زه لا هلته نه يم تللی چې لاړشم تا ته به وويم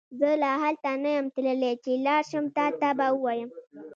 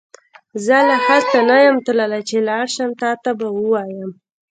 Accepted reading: second